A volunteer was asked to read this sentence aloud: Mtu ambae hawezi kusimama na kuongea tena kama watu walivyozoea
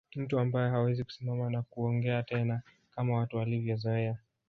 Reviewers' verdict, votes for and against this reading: rejected, 0, 2